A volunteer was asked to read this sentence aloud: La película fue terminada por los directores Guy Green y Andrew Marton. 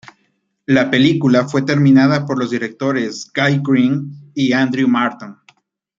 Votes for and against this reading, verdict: 1, 2, rejected